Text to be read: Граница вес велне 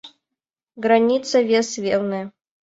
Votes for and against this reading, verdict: 2, 0, accepted